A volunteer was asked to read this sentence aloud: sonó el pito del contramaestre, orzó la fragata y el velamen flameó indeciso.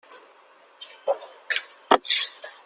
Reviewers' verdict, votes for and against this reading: rejected, 0, 2